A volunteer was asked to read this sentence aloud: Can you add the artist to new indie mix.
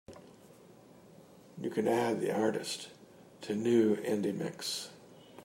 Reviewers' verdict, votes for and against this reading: rejected, 1, 2